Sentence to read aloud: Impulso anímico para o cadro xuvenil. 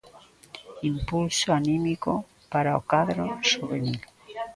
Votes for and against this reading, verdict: 2, 0, accepted